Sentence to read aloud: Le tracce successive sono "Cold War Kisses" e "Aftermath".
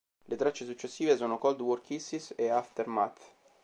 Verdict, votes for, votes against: accepted, 2, 0